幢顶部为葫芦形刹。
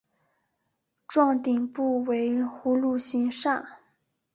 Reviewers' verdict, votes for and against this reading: accepted, 2, 0